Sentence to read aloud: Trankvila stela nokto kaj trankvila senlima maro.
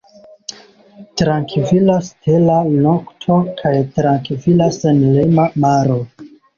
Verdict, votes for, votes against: accepted, 2, 0